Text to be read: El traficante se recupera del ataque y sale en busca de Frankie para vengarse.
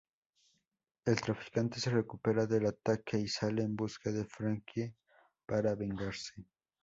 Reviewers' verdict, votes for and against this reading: rejected, 2, 2